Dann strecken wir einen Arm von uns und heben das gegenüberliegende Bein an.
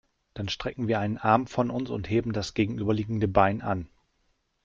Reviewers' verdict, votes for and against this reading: accepted, 2, 0